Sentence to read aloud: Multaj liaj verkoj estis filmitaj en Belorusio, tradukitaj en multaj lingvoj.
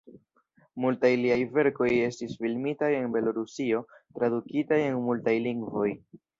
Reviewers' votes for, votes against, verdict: 3, 1, accepted